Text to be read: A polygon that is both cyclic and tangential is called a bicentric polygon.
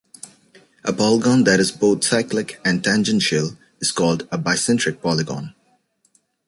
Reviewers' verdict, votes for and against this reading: accepted, 2, 0